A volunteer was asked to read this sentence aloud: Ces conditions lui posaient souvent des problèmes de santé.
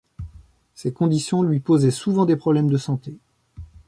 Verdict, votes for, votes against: accepted, 2, 0